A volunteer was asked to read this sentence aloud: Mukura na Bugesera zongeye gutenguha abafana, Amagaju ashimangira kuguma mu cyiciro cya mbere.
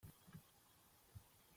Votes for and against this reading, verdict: 0, 2, rejected